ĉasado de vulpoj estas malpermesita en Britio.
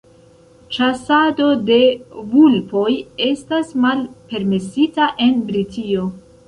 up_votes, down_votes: 2, 1